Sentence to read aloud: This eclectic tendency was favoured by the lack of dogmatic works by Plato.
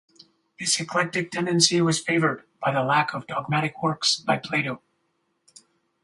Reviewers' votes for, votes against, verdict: 2, 2, rejected